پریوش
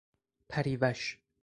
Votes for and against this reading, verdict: 2, 0, accepted